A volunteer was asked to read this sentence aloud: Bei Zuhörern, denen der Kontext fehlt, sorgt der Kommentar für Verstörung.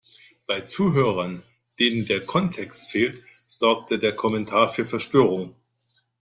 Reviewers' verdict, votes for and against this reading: rejected, 0, 2